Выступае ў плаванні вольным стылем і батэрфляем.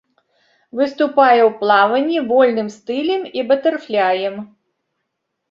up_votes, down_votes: 2, 0